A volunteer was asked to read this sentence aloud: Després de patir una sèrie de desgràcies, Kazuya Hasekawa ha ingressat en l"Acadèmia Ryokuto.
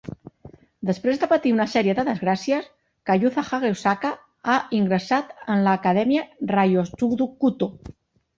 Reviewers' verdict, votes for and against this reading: rejected, 0, 2